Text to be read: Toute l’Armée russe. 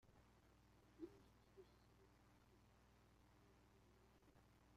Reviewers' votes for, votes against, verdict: 0, 2, rejected